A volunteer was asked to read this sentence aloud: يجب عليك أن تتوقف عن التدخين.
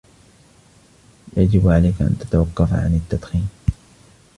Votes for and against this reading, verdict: 2, 1, accepted